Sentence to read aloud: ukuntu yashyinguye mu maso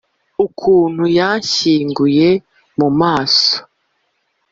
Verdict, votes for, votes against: accepted, 2, 0